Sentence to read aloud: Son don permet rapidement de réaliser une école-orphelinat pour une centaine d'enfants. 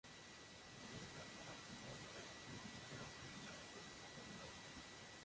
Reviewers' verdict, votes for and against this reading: rejected, 0, 2